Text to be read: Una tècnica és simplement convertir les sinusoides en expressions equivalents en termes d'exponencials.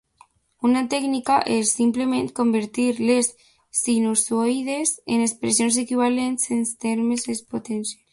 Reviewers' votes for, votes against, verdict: 0, 2, rejected